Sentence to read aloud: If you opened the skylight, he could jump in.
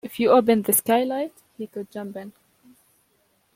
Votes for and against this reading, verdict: 2, 0, accepted